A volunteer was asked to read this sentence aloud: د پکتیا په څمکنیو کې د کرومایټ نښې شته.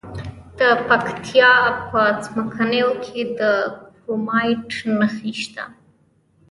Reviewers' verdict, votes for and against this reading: rejected, 1, 2